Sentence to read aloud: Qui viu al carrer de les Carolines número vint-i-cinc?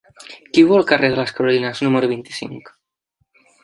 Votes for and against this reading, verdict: 3, 1, accepted